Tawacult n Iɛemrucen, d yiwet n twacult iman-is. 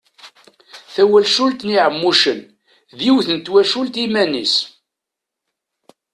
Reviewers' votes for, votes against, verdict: 0, 2, rejected